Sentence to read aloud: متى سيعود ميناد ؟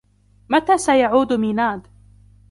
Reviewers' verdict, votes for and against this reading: accepted, 2, 1